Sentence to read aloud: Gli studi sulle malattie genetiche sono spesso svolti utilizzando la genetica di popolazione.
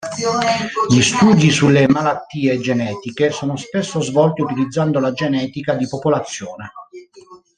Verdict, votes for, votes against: rejected, 1, 2